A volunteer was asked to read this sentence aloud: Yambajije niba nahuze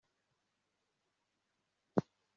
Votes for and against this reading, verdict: 1, 2, rejected